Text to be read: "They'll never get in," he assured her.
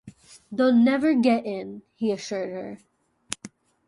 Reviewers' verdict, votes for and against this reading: rejected, 0, 2